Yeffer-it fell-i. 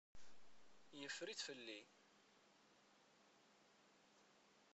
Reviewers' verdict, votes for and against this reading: rejected, 0, 2